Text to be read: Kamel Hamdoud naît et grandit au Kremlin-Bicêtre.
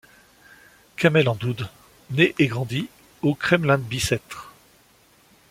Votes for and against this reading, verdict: 2, 0, accepted